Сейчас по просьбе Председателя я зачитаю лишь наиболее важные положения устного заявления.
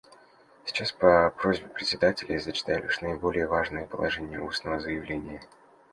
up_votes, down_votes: 2, 0